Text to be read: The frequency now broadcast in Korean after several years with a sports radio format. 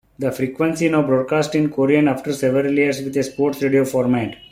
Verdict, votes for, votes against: accepted, 2, 0